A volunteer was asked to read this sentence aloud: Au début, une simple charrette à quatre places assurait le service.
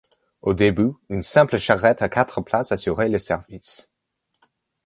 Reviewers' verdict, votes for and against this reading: accepted, 2, 0